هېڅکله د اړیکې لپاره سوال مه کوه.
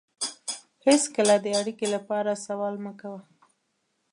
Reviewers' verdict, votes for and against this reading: rejected, 1, 2